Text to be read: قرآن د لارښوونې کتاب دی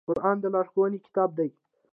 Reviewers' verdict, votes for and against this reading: accepted, 2, 0